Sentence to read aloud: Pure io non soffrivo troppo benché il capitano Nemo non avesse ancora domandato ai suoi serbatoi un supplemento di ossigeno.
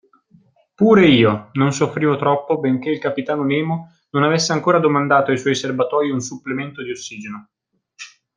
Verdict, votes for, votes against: accepted, 2, 0